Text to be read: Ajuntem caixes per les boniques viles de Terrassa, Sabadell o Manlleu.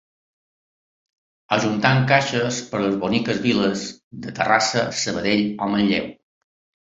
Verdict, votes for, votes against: accepted, 2, 0